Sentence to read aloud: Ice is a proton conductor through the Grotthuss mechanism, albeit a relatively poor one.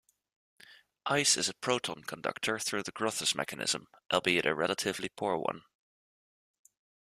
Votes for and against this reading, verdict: 2, 0, accepted